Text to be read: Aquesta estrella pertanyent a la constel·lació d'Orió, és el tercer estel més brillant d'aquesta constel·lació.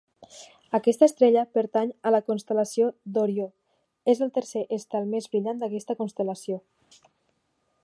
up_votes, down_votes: 1, 2